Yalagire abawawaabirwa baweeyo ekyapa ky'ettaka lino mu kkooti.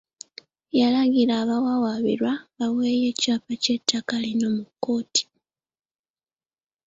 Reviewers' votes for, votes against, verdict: 2, 0, accepted